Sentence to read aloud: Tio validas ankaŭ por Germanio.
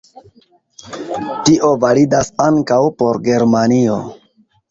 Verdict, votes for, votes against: accepted, 2, 0